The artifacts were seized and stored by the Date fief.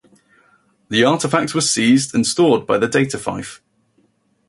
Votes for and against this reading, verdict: 2, 2, rejected